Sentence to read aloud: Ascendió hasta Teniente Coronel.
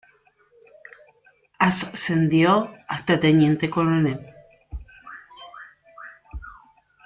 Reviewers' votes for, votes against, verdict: 2, 0, accepted